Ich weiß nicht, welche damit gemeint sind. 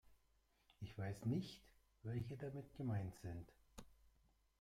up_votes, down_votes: 0, 2